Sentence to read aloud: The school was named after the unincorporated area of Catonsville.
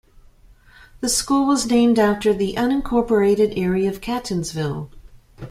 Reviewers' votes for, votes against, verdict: 2, 0, accepted